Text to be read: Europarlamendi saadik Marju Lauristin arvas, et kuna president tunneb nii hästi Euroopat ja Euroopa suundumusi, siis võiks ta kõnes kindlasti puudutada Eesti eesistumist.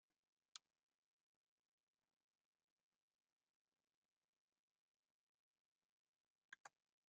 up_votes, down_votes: 0, 2